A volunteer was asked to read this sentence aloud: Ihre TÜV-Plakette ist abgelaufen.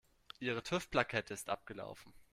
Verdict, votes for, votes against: accepted, 2, 0